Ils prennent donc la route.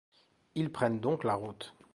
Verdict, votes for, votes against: accepted, 2, 0